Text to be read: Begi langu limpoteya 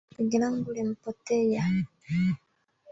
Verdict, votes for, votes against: rejected, 0, 2